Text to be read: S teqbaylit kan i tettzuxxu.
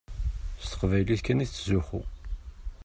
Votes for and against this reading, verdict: 2, 0, accepted